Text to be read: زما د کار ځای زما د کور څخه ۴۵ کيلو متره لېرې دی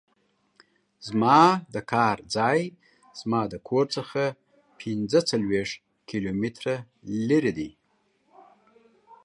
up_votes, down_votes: 0, 2